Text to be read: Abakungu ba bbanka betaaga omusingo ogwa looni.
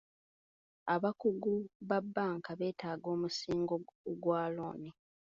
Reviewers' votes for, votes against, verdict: 2, 1, accepted